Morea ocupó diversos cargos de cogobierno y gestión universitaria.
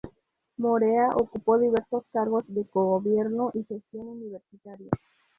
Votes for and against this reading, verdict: 2, 0, accepted